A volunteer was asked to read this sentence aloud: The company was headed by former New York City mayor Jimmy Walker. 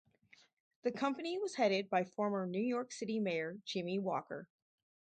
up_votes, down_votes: 4, 0